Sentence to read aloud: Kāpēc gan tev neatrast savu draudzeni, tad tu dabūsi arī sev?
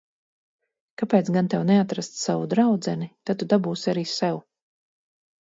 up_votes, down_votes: 2, 0